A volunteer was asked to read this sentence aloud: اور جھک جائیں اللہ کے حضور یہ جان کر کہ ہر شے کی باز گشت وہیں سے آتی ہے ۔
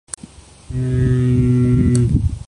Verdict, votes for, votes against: rejected, 3, 4